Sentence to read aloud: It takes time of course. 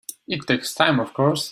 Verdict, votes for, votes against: rejected, 1, 2